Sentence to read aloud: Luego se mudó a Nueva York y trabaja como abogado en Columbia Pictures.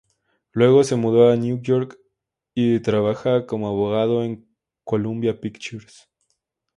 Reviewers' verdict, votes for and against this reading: accepted, 2, 0